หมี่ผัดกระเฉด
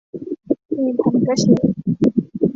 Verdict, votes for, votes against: accepted, 2, 0